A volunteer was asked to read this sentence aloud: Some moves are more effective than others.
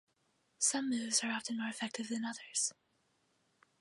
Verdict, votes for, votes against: rejected, 0, 2